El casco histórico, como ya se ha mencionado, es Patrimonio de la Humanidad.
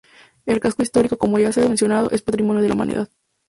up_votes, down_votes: 0, 4